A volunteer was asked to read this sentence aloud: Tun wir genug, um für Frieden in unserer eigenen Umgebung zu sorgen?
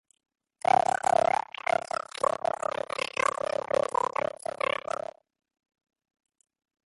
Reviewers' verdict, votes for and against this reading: rejected, 0, 2